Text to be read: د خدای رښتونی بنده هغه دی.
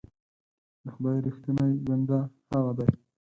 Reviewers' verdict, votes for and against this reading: rejected, 2, 4